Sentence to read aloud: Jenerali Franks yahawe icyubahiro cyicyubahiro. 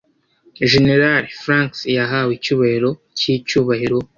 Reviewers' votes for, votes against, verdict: 2, 0, accepted